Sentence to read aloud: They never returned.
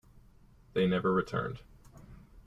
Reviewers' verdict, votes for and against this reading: accepted, 2, 0